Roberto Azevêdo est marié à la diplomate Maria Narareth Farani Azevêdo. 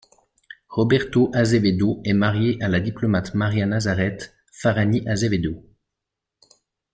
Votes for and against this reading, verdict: 1, 2, rejected